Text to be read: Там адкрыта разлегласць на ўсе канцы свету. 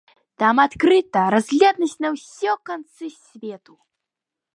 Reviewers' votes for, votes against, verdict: 2, 1, accepted